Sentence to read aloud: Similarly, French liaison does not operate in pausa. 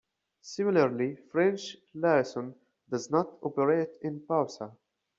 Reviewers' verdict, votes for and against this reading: accepted, 2, 1